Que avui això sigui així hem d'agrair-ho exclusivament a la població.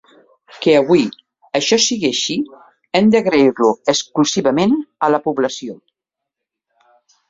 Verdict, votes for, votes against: rejected, 0, 2